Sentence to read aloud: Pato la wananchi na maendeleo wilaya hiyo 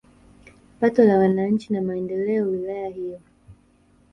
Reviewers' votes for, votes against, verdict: 1, 2, rejected